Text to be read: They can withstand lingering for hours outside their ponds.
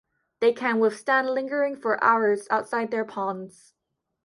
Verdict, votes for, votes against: accepted, 2, 0